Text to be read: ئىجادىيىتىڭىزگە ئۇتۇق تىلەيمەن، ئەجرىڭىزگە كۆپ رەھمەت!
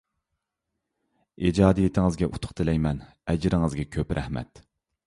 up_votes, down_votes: 2, 0